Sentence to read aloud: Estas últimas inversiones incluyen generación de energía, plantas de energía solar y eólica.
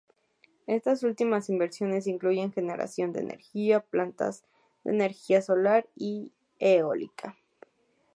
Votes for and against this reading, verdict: 2, 0, accepted